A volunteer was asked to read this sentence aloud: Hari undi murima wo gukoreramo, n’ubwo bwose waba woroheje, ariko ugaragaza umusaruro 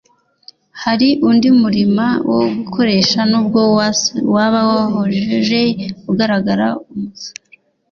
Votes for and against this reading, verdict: 1, 2, rejected